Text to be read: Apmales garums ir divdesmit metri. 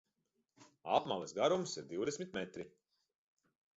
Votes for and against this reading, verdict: 2, 0, accepted